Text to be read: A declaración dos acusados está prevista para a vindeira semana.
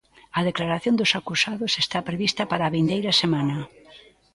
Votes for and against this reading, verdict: 2, 0, accepted